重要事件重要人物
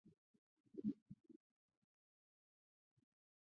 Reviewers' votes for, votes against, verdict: 0, 3, rejected